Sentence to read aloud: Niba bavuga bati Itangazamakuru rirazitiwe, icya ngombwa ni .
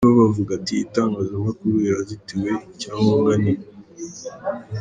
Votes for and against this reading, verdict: 0, 2, rejected